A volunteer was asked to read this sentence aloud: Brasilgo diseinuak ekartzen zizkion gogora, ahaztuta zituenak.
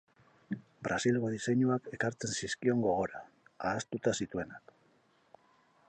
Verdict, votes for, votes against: rejected, 0, 2